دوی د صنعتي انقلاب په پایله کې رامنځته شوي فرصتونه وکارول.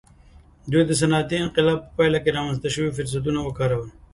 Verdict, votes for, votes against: accepted, 2, 0